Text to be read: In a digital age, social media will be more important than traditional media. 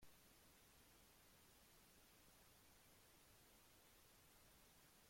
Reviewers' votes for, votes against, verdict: 0, 2, rejected